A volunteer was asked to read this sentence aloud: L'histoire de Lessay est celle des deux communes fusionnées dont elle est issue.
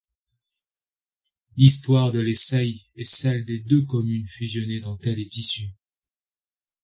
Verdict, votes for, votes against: accepted, 2, 0